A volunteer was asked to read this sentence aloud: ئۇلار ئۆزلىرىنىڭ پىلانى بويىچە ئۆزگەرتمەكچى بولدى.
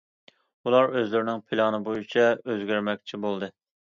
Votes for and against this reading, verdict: 2, 1, accepted